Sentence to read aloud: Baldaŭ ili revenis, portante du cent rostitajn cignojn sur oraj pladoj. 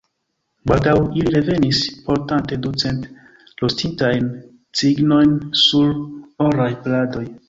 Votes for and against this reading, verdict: 2, 1, accepted